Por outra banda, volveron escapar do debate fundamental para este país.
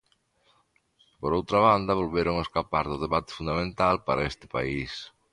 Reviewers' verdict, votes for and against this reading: accepted, 2, 0